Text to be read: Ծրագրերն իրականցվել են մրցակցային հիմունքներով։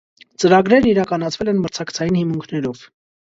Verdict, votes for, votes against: rejected, 1, 2